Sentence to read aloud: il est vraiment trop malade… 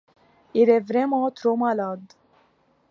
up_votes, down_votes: 2, 0